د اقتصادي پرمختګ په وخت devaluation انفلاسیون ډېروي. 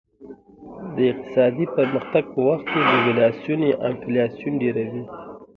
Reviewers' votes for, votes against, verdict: 1, 2, rejected